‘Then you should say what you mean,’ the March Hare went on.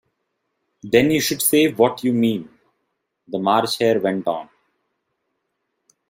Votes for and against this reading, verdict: 2, 0, accepted